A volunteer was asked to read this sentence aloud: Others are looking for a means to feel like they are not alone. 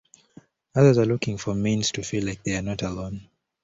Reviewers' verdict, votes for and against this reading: accepted, 2, 0